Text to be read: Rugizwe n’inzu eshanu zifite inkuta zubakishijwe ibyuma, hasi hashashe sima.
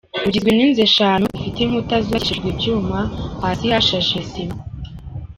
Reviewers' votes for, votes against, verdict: 1, 2, rejected